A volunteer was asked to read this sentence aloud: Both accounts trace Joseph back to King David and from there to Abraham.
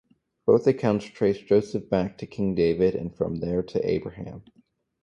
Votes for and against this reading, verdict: 2, 0, accepted